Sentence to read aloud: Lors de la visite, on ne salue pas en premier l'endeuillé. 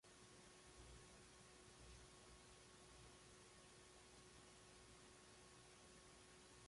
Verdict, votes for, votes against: rejected, 0, 2